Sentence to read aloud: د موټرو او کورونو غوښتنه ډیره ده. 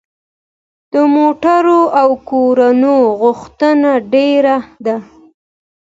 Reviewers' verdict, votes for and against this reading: accepted, 2, 0